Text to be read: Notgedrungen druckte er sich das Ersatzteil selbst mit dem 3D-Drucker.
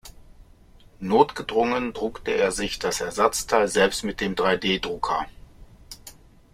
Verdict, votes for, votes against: rejected, 0, 2